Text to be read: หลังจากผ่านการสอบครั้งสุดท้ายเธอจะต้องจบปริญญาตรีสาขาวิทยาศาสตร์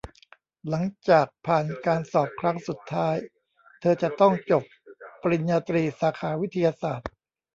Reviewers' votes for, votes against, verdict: 1, 2, rejected